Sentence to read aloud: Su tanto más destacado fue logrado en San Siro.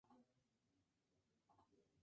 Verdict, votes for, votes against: rejected, 0, 2